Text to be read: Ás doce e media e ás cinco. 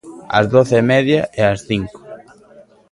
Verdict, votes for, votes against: rejected, 1, 2